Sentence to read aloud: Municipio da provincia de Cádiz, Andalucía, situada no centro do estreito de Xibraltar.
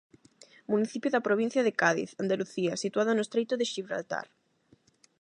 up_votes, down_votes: 0, 8